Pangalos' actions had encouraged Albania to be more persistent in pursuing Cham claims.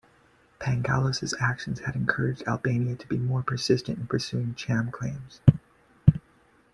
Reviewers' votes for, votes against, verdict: 2, 0, accepted